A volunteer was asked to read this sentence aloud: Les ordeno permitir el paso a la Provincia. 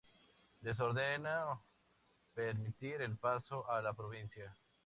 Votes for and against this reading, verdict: 2, 2, rejected